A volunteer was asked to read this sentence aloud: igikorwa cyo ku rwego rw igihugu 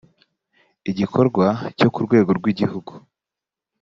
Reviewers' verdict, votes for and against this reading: accepted, 2, 0